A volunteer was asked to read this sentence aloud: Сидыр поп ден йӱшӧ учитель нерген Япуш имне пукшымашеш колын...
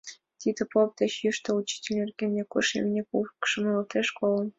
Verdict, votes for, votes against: rejected, 1, 5